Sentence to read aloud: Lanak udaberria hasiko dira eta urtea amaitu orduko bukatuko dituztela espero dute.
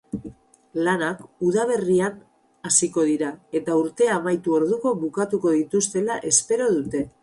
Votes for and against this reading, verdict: 4, 0, accepted